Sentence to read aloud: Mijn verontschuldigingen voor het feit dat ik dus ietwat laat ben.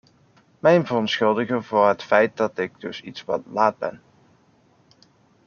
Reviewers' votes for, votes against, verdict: 0, 2, rejected